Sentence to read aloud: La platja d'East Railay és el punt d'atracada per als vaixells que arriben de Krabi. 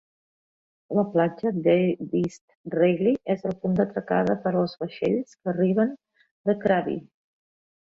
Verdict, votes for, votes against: rejected, 1, 2